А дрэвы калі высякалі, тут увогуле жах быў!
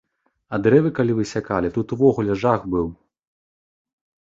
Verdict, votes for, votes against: accepted, 2, 0